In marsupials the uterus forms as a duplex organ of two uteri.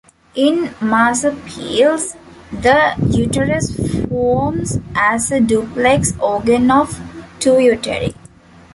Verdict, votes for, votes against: rejected, 0, 2